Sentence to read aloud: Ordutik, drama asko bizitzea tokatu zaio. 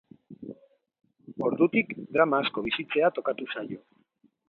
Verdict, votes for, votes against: accepted, 3, 0